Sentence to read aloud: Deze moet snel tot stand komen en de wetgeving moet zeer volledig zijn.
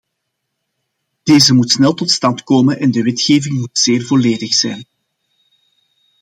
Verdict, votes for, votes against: accepted, 2, 0